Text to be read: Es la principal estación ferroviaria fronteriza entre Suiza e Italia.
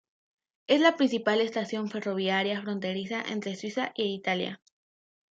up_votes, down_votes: 2, 0